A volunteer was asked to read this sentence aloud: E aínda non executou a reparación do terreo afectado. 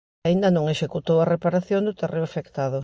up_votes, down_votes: 2, 0